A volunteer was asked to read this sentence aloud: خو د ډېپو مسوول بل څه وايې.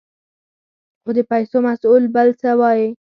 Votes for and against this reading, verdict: 4, 0, accepted